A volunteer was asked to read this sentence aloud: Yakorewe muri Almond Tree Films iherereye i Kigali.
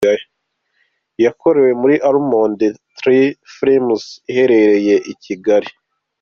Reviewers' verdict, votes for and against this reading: accepted, 2, 0